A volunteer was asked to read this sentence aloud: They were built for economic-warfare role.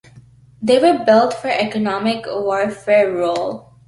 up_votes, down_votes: 2, 0